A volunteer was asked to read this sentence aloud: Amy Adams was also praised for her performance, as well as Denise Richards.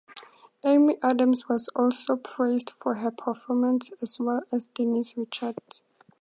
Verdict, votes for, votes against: accepted, 2, 0